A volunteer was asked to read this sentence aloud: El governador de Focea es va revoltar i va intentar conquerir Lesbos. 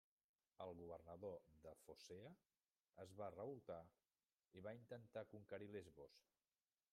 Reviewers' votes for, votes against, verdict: 0, 2, rejected